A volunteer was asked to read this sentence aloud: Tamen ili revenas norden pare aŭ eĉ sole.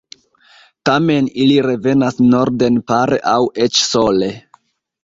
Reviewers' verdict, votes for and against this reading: accepted, 2, 1